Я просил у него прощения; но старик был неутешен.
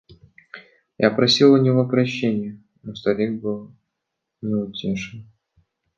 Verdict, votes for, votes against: rejected, 1, 2